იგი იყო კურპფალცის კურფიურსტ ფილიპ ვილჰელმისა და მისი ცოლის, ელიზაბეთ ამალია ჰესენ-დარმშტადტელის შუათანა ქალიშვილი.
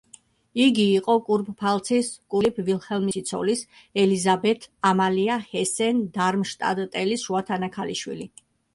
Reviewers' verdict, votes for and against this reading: accepted, 2, 0